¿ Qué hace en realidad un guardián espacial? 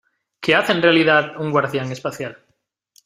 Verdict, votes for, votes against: accepted, 2, 0